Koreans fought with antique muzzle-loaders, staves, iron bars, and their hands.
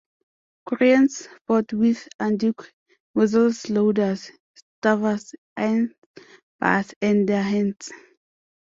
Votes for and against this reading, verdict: 0, 2, rejected